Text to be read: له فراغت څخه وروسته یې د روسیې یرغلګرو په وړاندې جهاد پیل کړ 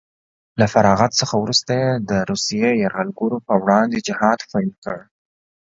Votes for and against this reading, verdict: 2, 0, accepted